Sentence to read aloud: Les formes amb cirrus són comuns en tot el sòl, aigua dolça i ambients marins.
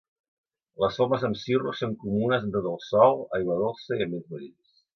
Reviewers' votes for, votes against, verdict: 0, 2, rejected